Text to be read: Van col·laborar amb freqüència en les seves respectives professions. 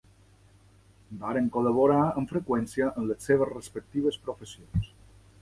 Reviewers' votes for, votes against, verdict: 1, 2, rejected